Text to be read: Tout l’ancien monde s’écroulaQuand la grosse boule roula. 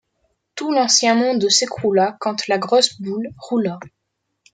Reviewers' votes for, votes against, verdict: 2, 0, accepted